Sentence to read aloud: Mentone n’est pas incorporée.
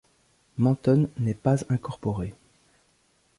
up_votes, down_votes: 2, 1